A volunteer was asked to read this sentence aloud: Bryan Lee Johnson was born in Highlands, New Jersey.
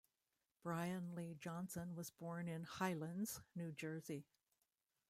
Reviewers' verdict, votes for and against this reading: rejected, 0, 2